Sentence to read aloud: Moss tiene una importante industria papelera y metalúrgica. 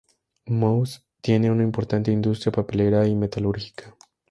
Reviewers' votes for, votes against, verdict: 2, 0, accepted